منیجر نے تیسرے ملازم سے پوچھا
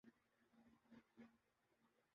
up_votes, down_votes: 0, 2